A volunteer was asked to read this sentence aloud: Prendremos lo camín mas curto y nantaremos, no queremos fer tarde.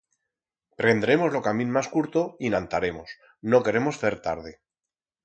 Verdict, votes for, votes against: accepted, 4, 0